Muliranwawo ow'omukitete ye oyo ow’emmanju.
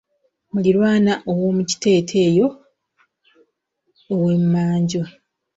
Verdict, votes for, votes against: rejected, 0, 2